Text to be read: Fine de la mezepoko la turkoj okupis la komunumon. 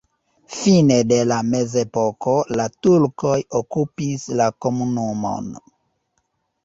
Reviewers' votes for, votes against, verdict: 0, 2, rejected